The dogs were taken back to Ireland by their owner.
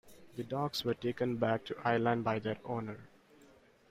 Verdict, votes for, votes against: rejected, 1, 2